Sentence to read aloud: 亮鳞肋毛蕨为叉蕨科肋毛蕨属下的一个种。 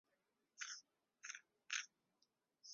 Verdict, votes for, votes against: rejected, 0, 3